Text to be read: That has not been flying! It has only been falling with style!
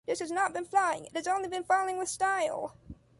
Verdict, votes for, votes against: rejected, 1, 2